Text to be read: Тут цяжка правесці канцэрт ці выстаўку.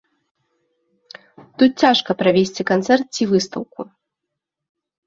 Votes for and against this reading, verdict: 2, 1, accepted